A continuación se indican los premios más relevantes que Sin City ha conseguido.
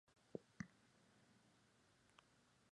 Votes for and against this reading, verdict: 0, 2, rejected